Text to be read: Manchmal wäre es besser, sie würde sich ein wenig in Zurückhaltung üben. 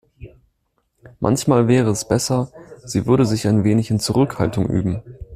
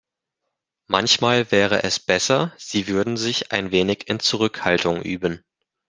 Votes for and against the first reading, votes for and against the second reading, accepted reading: 2, 0, 0, 2, first